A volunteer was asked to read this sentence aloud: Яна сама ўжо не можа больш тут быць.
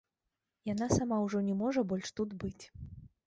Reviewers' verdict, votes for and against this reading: accepted, 3, 0